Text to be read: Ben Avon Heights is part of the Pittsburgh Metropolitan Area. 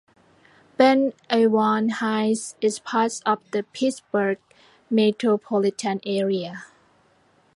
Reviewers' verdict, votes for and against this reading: rejected, 1, 2